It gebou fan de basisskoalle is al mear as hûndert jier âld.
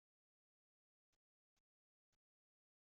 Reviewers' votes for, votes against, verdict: 0, 2, rejected